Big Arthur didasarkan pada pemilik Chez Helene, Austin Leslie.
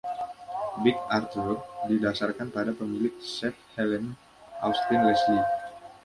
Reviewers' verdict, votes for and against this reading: accepted, 2, 1